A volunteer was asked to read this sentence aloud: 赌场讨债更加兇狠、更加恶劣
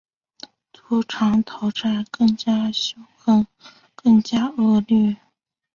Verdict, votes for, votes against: rejected, 3, 4